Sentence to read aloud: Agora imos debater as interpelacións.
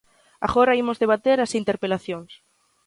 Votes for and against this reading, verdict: 2, 0, accepted